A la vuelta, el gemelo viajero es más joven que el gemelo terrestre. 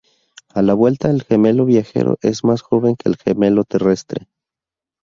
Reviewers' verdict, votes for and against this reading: accepted, 2, 0